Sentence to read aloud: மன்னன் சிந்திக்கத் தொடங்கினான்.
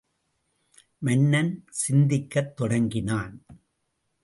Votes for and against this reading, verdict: 2, 0, accepted